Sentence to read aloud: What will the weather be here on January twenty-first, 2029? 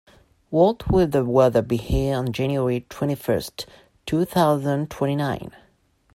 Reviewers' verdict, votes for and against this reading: rejected, 0, 2